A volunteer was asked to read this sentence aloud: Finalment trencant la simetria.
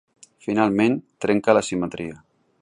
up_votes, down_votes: 0, 2